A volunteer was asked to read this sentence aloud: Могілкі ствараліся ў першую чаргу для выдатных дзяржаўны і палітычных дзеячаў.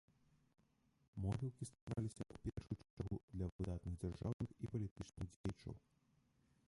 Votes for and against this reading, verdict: 0, 2, rejected